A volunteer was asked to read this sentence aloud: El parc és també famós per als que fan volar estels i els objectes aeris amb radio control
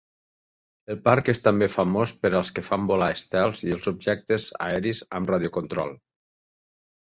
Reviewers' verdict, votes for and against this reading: accepted, 2, 0